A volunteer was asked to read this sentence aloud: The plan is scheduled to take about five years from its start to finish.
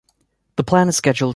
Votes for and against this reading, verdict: 1, 3, rejected